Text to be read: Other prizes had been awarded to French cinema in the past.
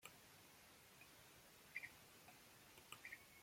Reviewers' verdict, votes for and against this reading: rejected, 0, 2